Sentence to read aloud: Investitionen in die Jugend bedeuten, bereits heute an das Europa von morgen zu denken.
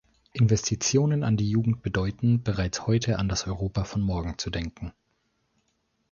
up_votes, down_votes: 1, 2